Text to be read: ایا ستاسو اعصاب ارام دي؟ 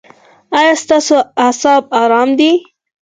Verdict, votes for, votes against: accepted, 4, 2